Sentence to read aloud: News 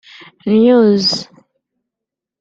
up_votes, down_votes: 1, 2